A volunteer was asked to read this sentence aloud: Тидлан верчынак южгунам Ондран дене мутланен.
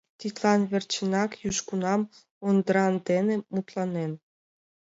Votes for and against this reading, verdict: 2, 0, accepted